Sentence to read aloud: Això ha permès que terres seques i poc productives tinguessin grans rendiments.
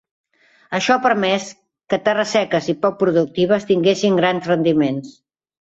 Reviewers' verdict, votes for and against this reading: accepted, 3, 0